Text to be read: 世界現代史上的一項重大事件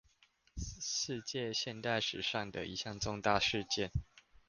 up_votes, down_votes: 2, 0